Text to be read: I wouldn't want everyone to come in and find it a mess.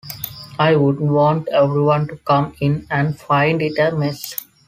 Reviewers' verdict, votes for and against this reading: accepted, 3, 1